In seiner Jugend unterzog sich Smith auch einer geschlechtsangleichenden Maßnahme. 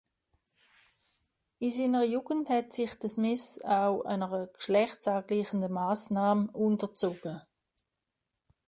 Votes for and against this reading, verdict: 0, 2, rejected